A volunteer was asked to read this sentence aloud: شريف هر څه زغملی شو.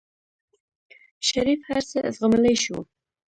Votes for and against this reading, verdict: 1, 2, rejected